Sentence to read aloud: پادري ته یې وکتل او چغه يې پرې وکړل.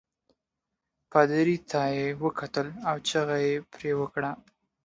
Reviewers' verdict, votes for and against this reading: accepted, 2, 0